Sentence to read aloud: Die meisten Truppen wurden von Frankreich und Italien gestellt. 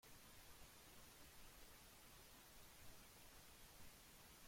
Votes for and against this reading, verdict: 0, 2, rejected